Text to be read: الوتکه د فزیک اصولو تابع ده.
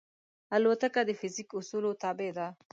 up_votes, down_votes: 2, 0